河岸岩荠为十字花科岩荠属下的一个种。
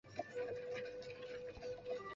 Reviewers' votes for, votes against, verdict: 0, 2, rejected